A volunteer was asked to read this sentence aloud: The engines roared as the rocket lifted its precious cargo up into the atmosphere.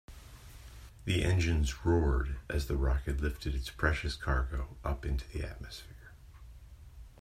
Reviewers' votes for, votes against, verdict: 2, 0, accepted